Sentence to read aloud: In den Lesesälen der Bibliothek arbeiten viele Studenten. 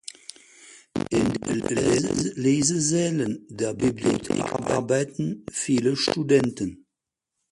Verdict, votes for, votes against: rejected, 0, 4